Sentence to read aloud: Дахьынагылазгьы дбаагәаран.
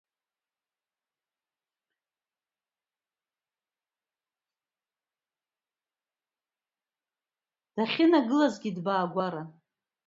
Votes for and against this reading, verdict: 0, 2, rejected